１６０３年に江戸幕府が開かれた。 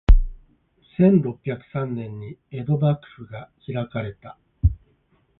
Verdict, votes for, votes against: rejected, 0, 2